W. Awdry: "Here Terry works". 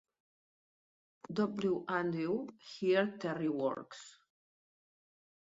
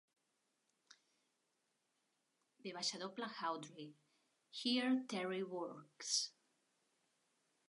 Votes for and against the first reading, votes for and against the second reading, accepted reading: 2, 1, 1, 2, first